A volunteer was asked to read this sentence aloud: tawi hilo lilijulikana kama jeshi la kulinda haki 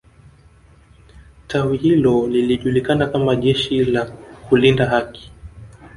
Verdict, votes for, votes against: rejected, 0, 2